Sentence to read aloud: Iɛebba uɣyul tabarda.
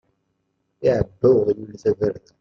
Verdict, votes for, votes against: rejected, 1, 3